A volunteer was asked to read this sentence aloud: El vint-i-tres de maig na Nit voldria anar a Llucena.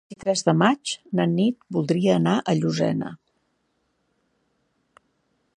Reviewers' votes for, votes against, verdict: 1, 2, rejected